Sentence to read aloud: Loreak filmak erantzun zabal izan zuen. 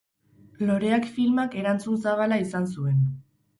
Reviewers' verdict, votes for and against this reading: rejected, 0, 4